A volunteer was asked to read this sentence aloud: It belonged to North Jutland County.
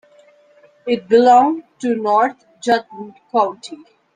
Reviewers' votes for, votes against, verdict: 1, 2, rejected